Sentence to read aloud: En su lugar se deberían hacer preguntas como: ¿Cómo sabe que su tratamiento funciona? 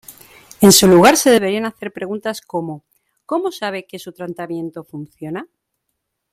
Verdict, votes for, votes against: rejected, 1, 2